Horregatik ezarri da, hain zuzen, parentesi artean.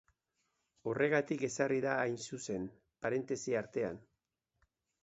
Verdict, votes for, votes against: accepted, 2, 0